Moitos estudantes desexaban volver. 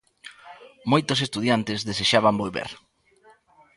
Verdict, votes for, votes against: rejected, 1, 2